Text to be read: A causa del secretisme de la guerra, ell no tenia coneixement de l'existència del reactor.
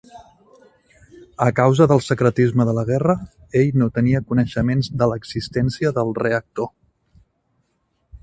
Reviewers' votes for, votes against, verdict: 1, 2, rejected